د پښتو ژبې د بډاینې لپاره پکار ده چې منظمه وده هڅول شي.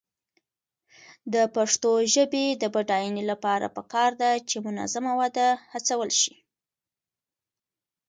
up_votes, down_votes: 2, 1